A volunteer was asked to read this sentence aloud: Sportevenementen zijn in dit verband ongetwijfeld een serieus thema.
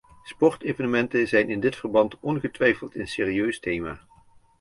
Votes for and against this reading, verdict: 2, 0, accepted